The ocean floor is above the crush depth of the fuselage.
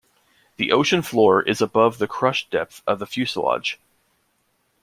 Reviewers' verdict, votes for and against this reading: accepted, 2, 0